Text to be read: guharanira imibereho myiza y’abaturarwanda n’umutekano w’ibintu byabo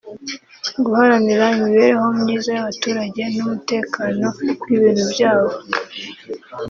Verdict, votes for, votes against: rejected, 0, 2